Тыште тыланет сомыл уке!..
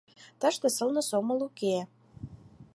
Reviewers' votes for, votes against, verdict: 0, 4, rejected